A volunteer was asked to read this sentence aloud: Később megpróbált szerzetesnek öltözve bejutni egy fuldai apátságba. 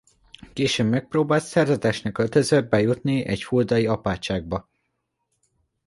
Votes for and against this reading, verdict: 2, 0, accepted